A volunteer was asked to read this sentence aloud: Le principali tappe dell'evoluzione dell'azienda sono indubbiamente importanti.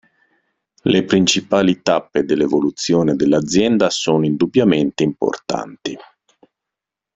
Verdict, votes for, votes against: accepted, 2, 0